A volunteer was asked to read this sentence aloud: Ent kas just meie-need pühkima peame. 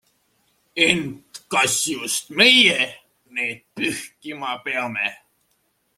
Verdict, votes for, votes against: accepted, 2, 0